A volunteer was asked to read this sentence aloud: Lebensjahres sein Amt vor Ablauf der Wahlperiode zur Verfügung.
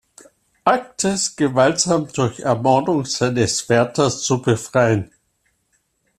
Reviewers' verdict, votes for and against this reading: rejected, 0, 2